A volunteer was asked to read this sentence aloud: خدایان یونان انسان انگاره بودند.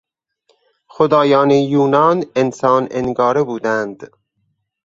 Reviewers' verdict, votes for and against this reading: accepted, 4, 0